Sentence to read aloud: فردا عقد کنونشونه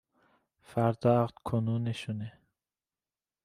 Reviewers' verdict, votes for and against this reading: accepted, 2, 0